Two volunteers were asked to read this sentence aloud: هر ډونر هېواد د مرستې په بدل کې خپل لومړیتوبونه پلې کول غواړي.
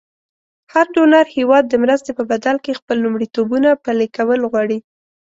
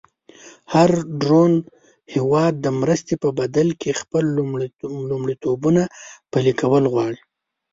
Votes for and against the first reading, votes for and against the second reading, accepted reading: 2, 0, 1, 2, first